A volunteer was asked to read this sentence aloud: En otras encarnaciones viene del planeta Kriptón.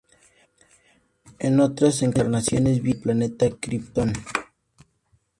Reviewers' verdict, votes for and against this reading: rejected, 0, 4